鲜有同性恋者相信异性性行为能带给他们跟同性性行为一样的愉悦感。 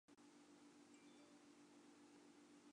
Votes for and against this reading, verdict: 1, 3, rejected